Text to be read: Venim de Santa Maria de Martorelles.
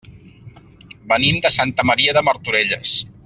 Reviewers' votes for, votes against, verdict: 3, 0, accepted